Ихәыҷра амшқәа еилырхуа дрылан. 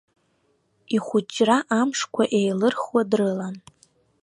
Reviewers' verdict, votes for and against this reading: rejected, 1, 2